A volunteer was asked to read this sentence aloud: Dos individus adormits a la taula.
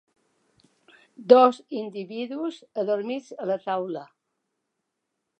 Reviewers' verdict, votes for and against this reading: accepted, 2, 0